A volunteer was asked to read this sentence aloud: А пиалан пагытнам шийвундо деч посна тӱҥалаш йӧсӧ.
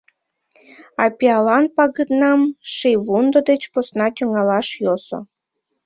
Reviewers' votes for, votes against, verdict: 0, 2, rejected